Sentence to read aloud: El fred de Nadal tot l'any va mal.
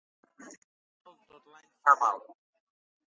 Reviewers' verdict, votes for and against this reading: rejected, 0, 2